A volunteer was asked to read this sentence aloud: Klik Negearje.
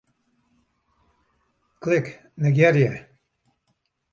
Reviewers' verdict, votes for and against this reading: accepted, 2, 0